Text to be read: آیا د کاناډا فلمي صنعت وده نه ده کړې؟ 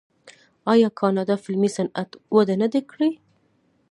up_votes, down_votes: 2, 3